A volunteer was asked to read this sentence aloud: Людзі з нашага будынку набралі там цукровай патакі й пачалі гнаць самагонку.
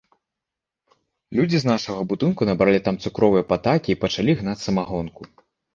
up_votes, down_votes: 0, 2